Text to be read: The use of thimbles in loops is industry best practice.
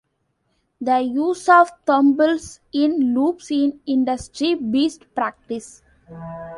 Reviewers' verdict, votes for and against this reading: rejected, 1, 2